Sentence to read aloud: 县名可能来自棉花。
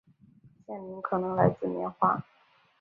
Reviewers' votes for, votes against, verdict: 2, 0, accepted